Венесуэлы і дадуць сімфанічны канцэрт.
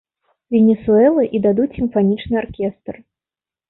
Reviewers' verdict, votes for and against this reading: rejected, 0, 2